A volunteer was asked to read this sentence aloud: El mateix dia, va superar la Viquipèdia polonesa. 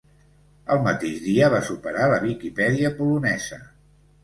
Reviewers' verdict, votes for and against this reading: accepted, 2, 0